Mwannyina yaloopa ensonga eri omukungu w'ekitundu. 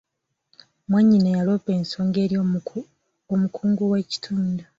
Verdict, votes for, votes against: rejected, 1, 3